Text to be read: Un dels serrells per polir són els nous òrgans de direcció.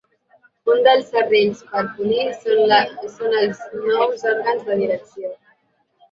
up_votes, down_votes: 0, 2